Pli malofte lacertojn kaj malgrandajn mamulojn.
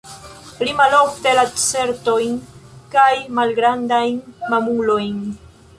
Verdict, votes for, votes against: rejected, 1, 2